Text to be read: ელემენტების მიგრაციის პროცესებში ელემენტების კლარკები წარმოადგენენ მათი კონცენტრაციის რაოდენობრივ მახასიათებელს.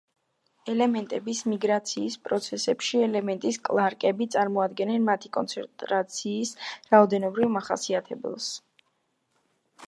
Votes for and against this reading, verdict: 1, 2, rejected